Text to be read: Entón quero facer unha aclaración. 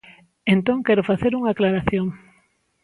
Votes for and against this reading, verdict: 2, 0, accepted